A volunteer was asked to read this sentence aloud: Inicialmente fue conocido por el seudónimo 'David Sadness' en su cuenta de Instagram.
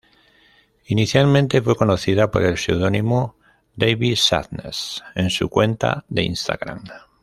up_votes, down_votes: 2, 0